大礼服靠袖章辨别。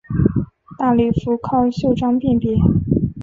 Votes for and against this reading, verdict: 5, 0, accepted